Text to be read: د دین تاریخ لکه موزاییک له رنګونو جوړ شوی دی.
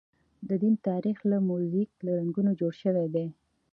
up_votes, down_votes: 2, 0